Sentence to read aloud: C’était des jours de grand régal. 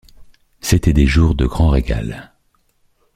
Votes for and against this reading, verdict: 2, 0, accepted